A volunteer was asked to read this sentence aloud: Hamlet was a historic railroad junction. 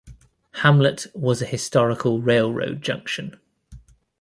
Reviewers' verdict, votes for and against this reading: rejected, 0, 2